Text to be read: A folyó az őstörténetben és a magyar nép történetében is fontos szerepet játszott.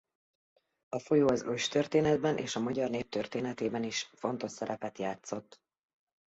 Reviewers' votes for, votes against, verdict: 2, 0, accepted